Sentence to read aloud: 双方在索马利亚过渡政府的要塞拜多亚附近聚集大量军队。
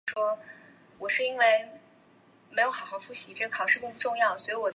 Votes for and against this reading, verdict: 0, 3, rejected